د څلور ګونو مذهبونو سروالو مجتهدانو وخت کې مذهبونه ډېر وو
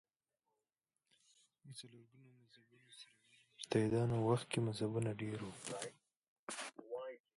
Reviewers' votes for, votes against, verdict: 0, 2, rejected